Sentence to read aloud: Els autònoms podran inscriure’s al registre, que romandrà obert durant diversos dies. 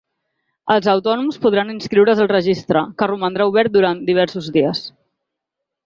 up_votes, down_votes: 3, 0